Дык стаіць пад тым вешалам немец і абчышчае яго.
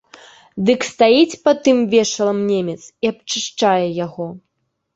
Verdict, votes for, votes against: accepted, 3, 0